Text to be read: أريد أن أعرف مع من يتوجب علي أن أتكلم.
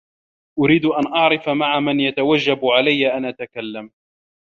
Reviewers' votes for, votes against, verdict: 2, 0, accepted